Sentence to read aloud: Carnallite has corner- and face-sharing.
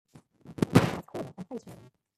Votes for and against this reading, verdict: 0, 2, rejected